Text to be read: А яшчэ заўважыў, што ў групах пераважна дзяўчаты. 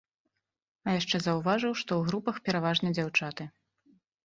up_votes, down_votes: 2, 0